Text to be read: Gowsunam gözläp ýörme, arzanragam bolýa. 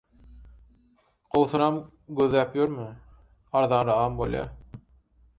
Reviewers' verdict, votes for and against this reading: rejected, 2, 4